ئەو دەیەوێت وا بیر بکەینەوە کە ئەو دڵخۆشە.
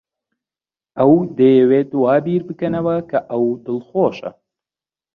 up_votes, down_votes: 0, 2